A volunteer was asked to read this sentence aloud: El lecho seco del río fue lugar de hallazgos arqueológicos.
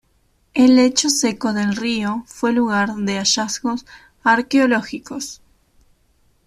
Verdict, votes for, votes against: accepted, 2, 0